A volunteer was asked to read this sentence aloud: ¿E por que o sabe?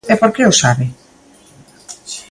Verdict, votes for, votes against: accepted, 2, 0